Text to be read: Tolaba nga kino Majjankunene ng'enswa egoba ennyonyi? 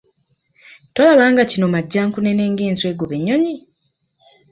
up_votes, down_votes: 3, 0